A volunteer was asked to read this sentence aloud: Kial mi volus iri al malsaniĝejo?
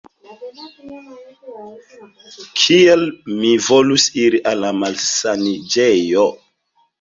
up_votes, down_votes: 1, 2